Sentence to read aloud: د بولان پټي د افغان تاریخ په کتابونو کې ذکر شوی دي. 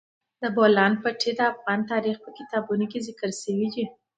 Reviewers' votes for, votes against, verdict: 1, 2, rejected